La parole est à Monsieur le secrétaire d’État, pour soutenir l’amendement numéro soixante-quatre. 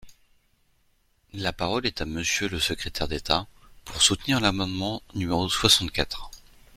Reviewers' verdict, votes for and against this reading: accepted, 2, 0